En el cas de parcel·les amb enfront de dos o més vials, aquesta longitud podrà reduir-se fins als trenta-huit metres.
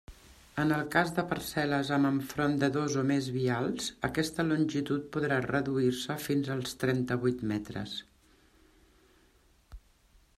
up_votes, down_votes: 0, 2